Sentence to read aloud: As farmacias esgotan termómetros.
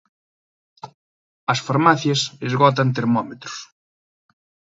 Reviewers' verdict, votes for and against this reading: accepted, 2, 0